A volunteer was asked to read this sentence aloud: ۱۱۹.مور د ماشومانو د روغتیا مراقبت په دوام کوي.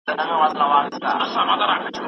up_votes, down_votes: 0, 2